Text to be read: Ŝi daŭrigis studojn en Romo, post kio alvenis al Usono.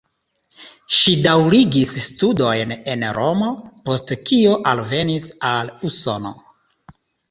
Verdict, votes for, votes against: accepted, 2, 1